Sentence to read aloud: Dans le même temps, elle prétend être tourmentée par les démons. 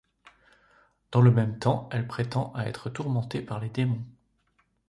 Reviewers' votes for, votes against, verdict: 1, 2, rejected